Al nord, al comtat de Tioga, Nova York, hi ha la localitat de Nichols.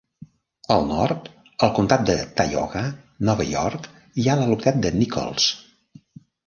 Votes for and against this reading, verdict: 1, 2, rejected